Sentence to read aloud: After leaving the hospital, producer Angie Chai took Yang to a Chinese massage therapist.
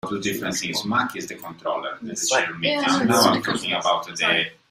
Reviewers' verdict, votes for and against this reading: rejected, 0, 2